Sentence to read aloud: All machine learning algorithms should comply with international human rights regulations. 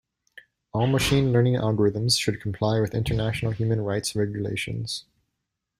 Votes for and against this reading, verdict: 2, 1, accepted